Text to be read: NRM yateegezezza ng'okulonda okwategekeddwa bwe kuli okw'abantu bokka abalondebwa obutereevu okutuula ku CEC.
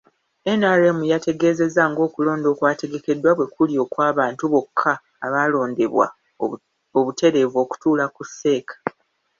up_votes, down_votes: 2, 1